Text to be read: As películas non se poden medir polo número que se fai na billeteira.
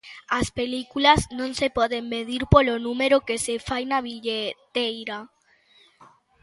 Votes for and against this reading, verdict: 2, 0, accepted